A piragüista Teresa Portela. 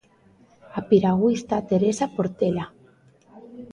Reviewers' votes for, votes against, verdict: 1, 2, rejected